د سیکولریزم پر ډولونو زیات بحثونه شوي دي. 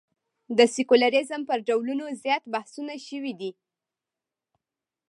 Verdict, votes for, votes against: rejected, 1, 2